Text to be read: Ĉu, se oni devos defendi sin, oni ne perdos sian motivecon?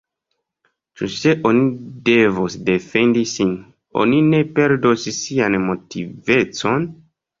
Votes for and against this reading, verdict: 0, 2, rejected